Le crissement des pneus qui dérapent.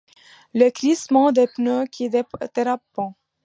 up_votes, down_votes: 2, 0